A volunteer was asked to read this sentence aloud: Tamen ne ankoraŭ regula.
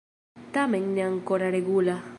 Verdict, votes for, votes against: accepted, 2, 0